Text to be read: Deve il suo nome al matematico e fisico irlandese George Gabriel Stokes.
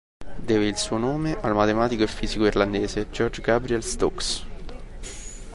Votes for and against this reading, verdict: 2, 0, accepted